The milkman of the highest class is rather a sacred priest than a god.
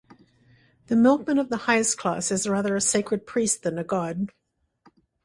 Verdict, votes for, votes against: accepted, 2, 0